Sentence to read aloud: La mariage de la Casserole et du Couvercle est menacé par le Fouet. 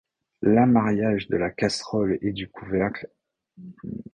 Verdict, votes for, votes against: rejected, 0, 2